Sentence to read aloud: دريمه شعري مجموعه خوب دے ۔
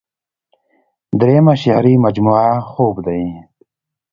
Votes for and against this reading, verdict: 2, 0, accepted